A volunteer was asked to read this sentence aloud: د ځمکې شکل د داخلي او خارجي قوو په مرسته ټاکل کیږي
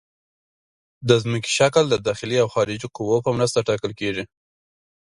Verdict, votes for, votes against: accepted, 2, 0